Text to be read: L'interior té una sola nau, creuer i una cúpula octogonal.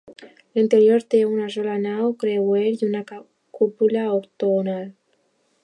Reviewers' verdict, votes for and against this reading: rejected, 0, 2